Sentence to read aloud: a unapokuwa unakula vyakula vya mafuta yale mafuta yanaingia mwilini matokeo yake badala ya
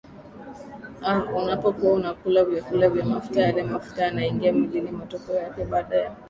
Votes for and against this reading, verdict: 2, 0, accepted